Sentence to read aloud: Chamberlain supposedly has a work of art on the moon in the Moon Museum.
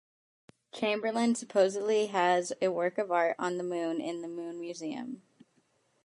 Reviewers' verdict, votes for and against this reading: accepted, 2, 0